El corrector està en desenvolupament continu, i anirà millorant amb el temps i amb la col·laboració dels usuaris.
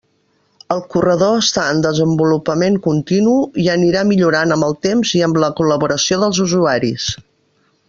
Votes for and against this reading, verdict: 0, 2, rejected